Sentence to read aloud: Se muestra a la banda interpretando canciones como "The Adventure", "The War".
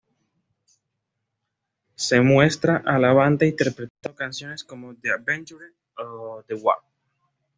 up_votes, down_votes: 2, 0